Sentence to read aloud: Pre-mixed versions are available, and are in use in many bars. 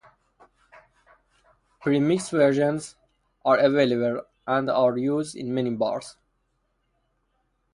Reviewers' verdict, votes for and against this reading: rejected, 0, 2